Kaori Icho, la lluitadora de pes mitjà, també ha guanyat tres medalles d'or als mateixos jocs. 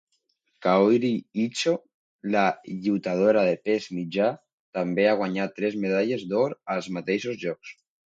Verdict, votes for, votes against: accepted, 2, 0